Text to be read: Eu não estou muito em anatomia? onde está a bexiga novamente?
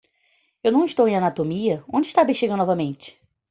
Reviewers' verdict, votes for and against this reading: rejected, 0, 2